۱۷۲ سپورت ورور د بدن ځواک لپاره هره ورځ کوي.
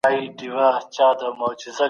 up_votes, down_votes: 0, 2